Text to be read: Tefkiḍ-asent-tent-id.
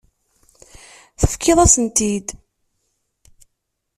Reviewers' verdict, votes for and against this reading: rejected, 1, 2